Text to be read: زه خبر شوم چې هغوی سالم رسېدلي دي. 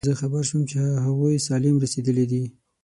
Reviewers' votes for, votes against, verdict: 3, 6, rejected